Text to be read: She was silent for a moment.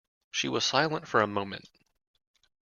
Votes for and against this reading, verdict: 3, 0, accepted